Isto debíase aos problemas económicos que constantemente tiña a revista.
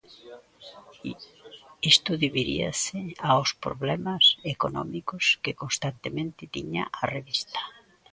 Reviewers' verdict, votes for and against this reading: rejected, 0, 2